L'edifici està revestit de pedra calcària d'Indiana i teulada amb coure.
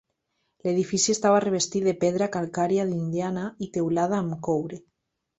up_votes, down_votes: 1, 2